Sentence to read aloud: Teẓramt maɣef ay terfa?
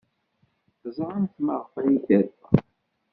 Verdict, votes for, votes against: rejected, 1, 3